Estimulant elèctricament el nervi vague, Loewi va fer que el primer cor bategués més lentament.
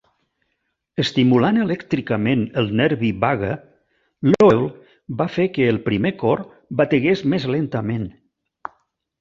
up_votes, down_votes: 1, 2